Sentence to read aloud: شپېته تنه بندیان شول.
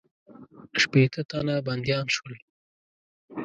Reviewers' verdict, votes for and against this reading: accepted, 2, 0